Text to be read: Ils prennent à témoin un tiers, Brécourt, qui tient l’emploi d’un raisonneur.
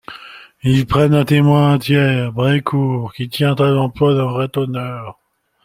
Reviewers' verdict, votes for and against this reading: rejected, 0, 2